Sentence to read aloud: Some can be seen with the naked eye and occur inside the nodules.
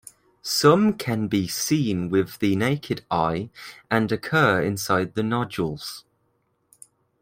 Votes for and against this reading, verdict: 2, 0, accepted